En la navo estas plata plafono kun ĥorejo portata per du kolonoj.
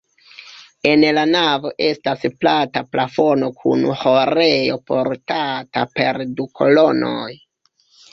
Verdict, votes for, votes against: rejected, 0, 2